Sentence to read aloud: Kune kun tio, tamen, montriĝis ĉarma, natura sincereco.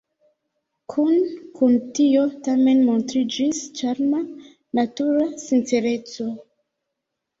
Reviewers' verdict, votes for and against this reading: rejected, 1, 2